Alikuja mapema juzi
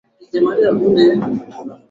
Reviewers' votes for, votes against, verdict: 0, 2, rejected